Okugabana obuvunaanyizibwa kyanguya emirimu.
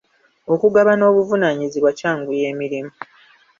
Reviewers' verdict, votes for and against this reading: accepted, 2, 0